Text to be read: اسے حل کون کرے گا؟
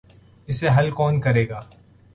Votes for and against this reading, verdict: 2, 0, accepted